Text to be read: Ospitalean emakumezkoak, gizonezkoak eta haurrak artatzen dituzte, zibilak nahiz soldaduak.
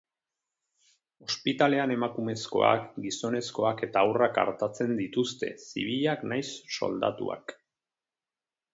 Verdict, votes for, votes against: accepted, 4, 0